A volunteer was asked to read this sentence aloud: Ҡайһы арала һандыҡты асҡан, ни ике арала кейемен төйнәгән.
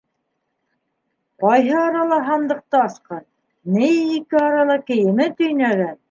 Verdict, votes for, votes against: accepted, 2, 0